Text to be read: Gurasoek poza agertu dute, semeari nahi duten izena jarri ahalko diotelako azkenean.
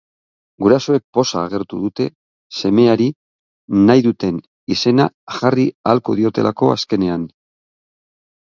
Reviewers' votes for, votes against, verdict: 9, 0, accepted